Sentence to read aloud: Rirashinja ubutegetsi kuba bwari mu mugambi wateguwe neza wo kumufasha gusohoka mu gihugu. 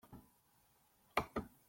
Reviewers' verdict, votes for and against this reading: rejected, 0, 2